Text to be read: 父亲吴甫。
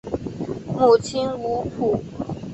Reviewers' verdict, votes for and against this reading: rejected, 1, 3